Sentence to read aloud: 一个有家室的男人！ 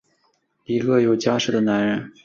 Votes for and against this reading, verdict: 3, 0, accepted